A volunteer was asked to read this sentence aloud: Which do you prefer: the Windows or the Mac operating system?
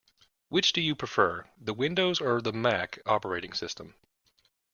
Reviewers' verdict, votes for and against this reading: accepted, 2, 0